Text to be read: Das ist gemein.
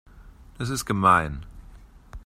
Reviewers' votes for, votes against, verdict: 2, 0, accepted